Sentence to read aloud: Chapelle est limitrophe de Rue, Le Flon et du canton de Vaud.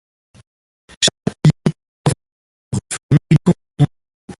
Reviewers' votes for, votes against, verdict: 0, 2, rejected